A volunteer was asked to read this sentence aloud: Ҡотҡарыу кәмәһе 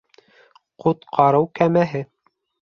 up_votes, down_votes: 2, 0